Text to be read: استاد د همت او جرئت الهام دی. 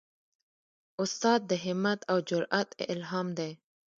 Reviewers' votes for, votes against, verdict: 1, 2, rejected